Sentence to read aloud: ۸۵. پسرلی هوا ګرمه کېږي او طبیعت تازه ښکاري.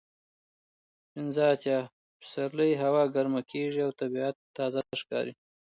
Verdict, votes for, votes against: rejected, 0, 2